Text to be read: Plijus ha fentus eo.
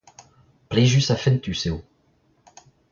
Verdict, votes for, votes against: accepted, 2, 0